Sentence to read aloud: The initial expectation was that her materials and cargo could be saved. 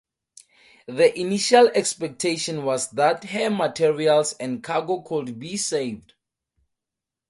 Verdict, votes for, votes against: accepted, 2, 0